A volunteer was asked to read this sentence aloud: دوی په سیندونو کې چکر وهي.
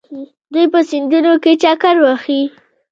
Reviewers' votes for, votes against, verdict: 1, 2, rejected